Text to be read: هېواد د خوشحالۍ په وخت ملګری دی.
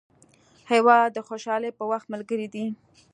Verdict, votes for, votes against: accepted, 2, 1